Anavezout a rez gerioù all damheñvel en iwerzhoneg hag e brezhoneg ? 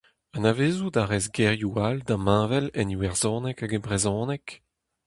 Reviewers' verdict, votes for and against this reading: accepted, 2, 0